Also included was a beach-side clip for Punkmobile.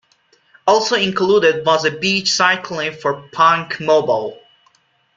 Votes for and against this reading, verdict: 2, 0, accepted